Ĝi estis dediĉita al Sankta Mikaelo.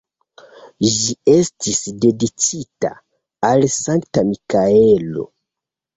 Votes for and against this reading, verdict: 0, 2, rejected